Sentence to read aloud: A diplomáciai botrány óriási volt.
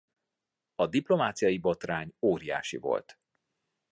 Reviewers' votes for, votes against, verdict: 2, 0, accepted